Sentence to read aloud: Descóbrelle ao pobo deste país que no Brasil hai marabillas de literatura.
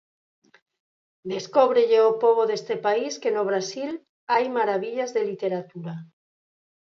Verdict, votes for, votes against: accepted, 4, 0